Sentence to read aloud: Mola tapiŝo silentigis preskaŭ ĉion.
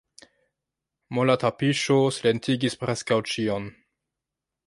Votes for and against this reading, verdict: 1, 2, rejected